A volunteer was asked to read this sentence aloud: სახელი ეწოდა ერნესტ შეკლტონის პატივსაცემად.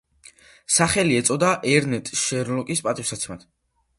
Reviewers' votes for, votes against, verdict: 0, 2, rejected